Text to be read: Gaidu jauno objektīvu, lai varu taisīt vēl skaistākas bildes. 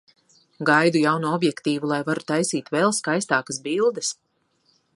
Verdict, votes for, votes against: accepted, 2, 0